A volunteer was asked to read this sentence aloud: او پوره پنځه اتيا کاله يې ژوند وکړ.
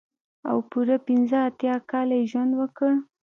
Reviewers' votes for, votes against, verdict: 1, 2, rejected